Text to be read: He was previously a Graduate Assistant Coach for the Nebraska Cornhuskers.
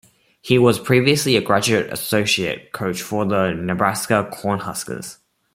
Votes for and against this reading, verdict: 1, 2, rejected